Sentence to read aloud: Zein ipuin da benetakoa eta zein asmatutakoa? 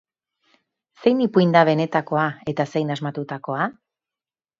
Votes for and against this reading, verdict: 2, 0, accepted